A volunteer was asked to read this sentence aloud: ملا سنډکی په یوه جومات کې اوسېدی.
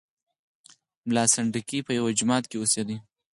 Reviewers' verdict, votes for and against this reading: rejected, 2, 4